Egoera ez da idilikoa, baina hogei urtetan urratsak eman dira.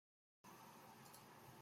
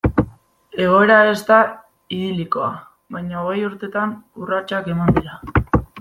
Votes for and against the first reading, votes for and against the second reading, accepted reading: 0, 3, 2, 1, second